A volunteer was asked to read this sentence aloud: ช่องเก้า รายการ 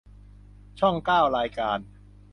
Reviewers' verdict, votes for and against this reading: accepted, 2, 0